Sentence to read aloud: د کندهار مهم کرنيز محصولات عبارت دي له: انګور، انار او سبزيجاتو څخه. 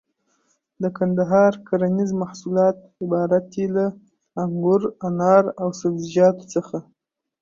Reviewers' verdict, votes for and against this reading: accepted, 2, 1